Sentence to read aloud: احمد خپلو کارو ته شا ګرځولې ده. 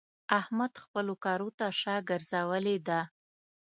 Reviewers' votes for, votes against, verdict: 2, 0, accepted